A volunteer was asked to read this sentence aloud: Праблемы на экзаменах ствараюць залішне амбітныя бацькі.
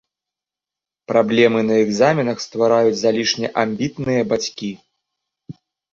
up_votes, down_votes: 2, 0